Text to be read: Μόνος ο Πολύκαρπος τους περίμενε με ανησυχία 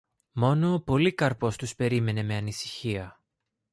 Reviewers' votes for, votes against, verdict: 2, 0, accepted